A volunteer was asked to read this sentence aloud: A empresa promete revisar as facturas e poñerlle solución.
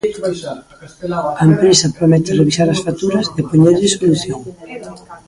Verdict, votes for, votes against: rejected, 0, 2